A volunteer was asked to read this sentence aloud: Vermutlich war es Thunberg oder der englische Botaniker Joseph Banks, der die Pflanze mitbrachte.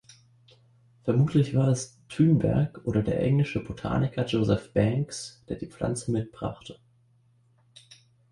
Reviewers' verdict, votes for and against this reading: accepted, 2, 1